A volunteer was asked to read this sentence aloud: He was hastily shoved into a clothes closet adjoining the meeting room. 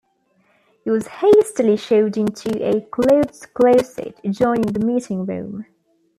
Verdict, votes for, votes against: accepted, 2, 1